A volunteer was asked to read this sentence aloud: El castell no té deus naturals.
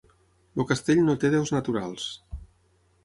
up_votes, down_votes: 3, 6